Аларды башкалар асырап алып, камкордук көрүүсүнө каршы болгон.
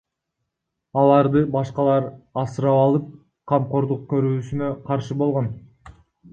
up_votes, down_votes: 1, 2